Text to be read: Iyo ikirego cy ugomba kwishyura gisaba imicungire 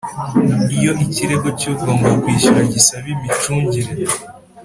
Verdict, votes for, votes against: accepted, 4, 0